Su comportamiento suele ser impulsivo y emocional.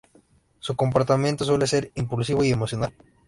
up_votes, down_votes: 2, 0